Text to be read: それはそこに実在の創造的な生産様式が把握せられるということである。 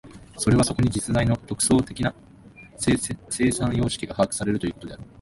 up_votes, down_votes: 5, 6